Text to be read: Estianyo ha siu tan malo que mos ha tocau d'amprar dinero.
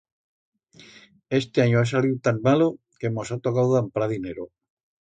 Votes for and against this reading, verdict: 1, 2, rejected